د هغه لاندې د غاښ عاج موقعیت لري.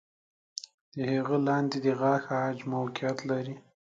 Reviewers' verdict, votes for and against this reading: accepted, 2, 0